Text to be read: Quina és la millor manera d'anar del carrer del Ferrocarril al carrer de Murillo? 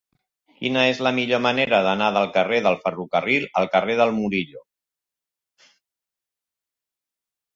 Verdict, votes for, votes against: rejected, 1, 2